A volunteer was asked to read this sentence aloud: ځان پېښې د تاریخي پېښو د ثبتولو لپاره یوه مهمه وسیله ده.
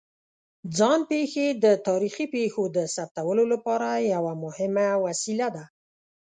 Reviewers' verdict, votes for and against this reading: accepted, 2, 0